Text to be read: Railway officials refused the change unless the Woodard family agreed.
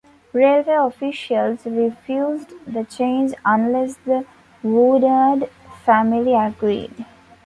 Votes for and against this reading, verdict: 2, 0, accepted